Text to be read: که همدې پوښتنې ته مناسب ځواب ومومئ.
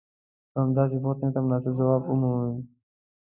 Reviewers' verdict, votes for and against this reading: rejected, 1, 2